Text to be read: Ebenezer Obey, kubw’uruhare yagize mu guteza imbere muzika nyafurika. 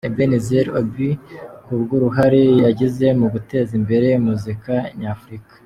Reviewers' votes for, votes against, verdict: 1, 2, rejected